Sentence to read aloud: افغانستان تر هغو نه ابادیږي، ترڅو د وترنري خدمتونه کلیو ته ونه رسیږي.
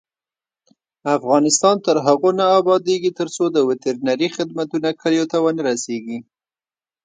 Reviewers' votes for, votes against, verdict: 2, 0, accepted